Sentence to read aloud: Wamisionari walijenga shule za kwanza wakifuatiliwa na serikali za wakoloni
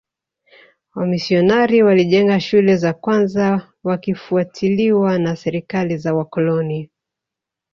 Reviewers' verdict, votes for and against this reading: rejected, 1, 2